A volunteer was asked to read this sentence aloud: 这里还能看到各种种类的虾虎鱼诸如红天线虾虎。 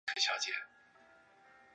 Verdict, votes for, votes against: rejected, 1, 3